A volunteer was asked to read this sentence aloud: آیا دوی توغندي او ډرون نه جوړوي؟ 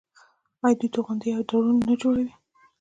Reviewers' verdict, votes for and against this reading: rejected, 1, 2